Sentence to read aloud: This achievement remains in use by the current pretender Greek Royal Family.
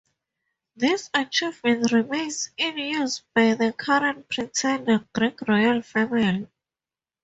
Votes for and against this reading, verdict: 4, 0, accepted